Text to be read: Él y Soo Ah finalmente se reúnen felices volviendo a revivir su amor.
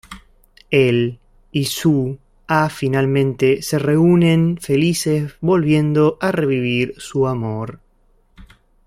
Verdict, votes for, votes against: accepted, 2, 0